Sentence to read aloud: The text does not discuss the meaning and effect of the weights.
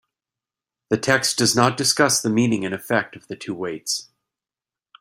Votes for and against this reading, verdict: 1, 3, rejected